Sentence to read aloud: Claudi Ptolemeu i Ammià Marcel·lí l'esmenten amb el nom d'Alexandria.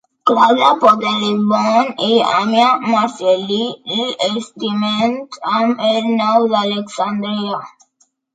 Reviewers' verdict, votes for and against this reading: accepted, 2, 0